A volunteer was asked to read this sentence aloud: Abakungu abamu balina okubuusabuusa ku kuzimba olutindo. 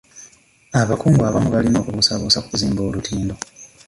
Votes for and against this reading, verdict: 1, 2, rejected